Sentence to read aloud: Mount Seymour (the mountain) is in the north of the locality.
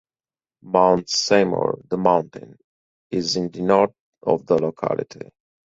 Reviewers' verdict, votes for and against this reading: rejected, 0, 4